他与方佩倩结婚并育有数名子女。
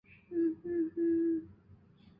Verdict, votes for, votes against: rejected, 2, 4